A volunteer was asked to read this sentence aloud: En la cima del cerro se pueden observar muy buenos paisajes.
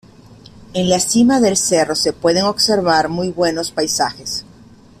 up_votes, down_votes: 2, 0